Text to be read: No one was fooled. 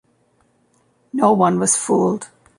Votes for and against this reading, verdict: 2, 0, accepted